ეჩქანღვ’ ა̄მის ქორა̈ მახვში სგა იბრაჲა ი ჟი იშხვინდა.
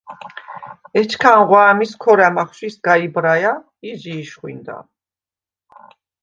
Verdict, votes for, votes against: accepted, 2, 0